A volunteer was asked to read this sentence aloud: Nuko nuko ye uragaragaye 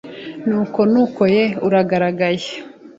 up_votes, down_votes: 2, 0